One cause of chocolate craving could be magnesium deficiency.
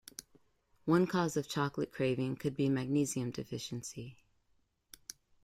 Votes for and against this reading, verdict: 2, 0, accepted